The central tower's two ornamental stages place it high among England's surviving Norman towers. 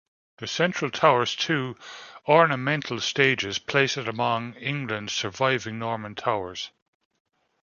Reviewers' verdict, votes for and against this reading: rejected, 0, 2